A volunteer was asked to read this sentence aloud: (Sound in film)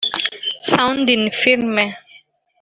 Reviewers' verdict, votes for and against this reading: accepted, 2, 0